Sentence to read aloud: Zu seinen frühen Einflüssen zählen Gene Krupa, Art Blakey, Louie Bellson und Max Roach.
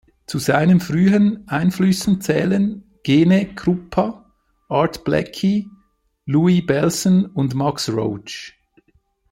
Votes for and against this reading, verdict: 1, 2, rejected